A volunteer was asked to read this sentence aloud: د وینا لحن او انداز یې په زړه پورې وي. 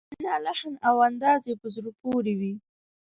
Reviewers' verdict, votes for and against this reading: rejected, 1, 2